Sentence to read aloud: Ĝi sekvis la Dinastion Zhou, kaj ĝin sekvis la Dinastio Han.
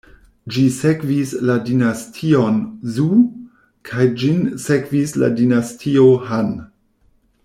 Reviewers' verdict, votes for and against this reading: rejected, 1, 2